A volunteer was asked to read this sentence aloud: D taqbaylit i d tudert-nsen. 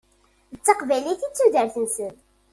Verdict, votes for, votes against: accepted, 2, 0